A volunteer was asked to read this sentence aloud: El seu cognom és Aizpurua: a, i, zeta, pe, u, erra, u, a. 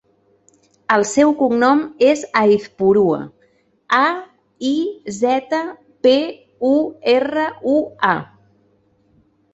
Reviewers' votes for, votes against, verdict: 3, 0, accepted